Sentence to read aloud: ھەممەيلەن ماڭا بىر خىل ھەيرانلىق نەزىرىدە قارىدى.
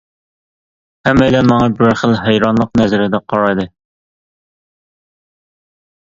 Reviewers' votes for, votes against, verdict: 0, 2, rejected